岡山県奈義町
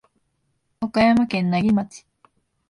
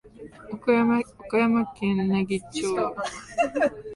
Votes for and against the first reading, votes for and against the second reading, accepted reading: 1, 2, 2, 0, second